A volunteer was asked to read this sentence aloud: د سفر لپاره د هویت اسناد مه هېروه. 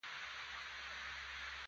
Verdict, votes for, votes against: rejected, 0, 3